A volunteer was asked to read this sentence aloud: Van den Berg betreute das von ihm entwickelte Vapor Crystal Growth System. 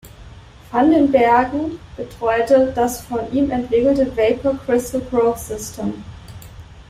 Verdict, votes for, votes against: rejected, 0, 2